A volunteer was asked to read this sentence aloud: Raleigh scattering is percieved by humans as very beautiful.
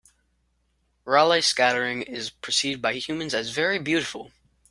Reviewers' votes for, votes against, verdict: 4, 0, accepted